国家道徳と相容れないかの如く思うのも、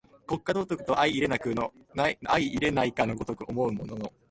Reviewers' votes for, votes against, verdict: 0, 2, rejected